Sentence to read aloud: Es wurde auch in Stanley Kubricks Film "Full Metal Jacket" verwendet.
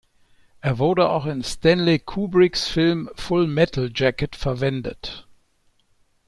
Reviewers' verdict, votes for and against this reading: rejected, 1, 2